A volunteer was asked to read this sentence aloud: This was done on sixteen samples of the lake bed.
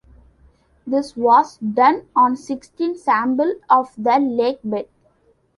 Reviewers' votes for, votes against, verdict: 2, 1, accepted